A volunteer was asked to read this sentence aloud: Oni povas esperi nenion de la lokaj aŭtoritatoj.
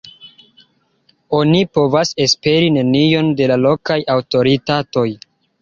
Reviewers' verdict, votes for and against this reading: accepted, 2, 1